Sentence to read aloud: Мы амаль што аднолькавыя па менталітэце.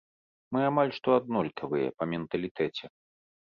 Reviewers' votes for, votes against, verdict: 2, 0, accepted